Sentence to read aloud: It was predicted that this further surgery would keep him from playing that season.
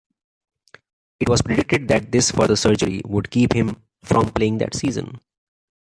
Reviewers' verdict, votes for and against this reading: accepted, 2, 0